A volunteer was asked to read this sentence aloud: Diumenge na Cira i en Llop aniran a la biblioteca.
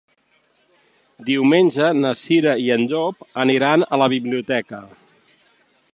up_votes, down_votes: 4, 0